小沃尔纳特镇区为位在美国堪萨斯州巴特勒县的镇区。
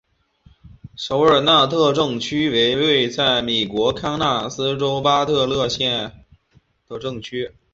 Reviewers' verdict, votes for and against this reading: accepted, 2, 0